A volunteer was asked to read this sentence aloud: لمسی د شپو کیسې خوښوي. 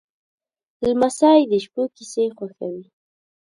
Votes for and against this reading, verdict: 2, 0, accepted